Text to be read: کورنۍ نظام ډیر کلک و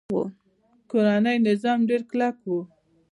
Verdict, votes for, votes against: accepted, 2, 0